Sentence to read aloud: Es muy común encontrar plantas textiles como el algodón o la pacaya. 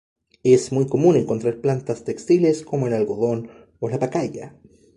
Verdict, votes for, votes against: accepted, 2, 0